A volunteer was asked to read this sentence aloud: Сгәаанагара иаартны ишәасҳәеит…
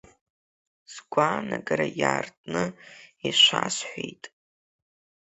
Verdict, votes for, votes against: accepted, 3, 1